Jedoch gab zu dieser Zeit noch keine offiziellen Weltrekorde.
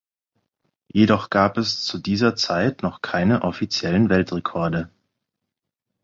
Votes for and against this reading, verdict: 6, 0, accepted